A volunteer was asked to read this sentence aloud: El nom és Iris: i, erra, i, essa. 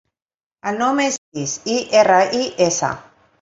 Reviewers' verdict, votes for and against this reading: rejected, 0, 2